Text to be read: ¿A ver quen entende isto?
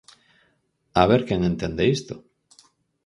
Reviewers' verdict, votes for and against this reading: accepted, 4, 0